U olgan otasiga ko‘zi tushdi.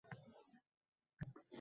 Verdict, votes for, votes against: rejected, 0, 2